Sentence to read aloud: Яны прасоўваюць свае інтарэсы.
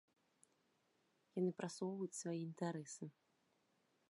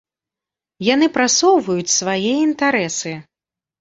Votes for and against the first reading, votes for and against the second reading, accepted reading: 0, 2, 2, 0, second